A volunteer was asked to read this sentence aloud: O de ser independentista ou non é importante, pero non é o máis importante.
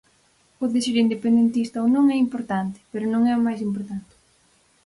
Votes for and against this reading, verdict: 4, 0, accepted